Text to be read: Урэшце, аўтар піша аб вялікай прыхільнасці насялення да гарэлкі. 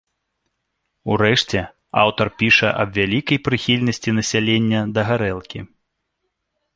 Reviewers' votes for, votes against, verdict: 2, 0, accepted